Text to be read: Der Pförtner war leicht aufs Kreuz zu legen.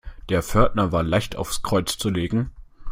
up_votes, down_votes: 2, 0